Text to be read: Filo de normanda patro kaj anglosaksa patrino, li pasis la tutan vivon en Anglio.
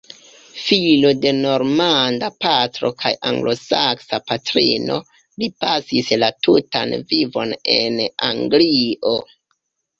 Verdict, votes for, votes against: accepted, 2, 0